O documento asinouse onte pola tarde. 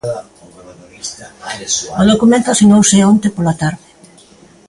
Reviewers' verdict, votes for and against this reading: rejected, 0, 2